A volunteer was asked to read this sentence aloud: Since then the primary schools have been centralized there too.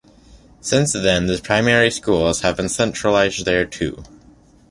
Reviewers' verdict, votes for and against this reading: accepted, 2, 0